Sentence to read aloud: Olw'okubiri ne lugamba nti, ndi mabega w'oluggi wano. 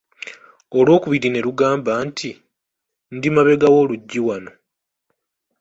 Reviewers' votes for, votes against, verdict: 1, 2, rejected